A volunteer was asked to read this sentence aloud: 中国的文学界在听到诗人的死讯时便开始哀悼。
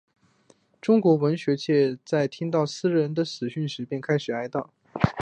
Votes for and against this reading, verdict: 2, 0, accepted